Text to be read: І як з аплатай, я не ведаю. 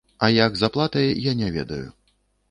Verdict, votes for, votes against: rejected, 0, 2